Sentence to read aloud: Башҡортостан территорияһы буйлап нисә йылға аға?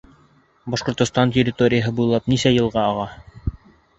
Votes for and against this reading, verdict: 3, 0, accepted